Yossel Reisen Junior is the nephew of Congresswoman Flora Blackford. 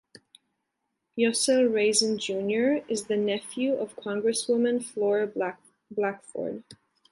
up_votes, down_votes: 1, 2